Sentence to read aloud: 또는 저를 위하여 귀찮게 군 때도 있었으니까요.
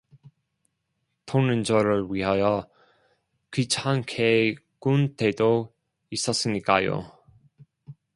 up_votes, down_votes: 1, 2